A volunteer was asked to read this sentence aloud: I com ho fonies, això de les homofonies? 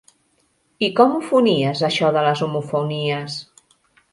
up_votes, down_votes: 3, 0